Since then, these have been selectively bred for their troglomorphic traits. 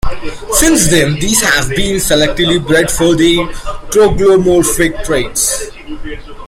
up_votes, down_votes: 1, 2